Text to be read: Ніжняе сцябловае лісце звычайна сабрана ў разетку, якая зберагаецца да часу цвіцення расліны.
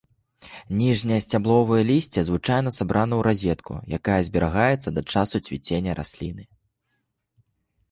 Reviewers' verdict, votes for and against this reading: accepted, 2, 0